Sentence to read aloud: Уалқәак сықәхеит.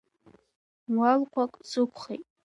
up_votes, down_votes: 3, 1